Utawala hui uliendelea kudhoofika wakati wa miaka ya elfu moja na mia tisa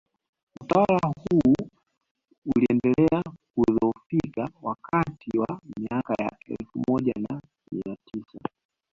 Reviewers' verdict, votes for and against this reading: rejected, 0, 2